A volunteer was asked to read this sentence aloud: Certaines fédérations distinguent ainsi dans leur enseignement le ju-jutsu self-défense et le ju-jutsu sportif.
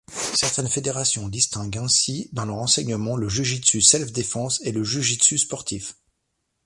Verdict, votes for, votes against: rejected, 1, 2